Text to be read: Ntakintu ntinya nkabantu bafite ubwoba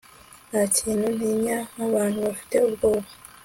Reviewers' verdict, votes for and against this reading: accepted, 2, 0